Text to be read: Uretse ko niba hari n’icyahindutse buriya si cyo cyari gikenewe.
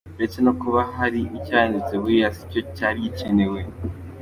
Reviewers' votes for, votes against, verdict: 2, 1, accepted